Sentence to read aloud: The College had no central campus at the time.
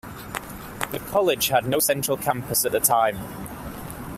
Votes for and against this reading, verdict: 2, 1, accepted